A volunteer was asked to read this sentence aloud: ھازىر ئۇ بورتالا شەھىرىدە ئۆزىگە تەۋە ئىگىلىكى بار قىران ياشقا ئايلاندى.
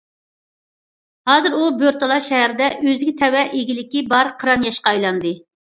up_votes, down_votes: 2, 0